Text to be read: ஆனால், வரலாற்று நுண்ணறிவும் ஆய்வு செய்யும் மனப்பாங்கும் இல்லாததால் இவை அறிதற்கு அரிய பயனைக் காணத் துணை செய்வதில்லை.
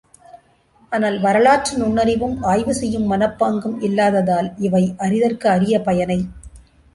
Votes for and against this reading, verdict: 0, 2, rejected